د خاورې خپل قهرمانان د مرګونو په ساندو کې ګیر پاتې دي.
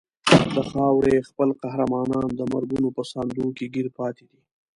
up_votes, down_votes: 1, 2